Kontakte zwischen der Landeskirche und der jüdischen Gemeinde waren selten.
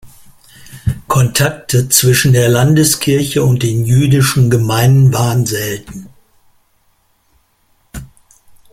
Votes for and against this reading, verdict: 1, 2, rejected